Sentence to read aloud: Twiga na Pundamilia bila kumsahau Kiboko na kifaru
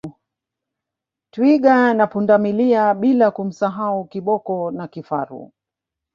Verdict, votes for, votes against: accepted, 2, 1